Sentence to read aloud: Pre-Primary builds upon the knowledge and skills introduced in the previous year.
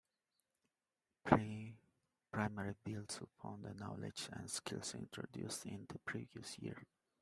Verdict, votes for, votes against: accepted, 2, 0